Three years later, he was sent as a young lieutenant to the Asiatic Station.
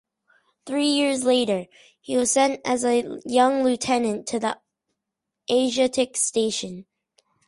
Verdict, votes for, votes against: accepted, 2, 0